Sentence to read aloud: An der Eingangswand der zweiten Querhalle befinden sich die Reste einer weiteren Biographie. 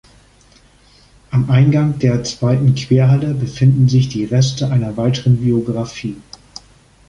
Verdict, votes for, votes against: rejected, 1, 2